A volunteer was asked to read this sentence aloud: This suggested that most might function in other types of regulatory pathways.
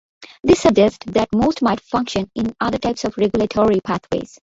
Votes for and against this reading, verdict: 3, 1, accepted